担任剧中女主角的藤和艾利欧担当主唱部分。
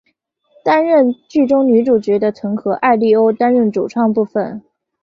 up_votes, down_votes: 5, 0